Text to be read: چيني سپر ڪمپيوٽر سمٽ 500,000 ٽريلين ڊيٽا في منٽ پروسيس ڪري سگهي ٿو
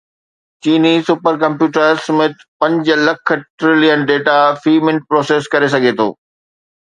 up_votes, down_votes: 0, 2